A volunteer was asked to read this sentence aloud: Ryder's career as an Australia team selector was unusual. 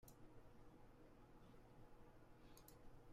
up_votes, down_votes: 0, 2